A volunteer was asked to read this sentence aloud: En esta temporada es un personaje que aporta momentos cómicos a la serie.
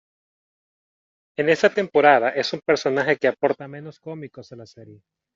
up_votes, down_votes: 1, 2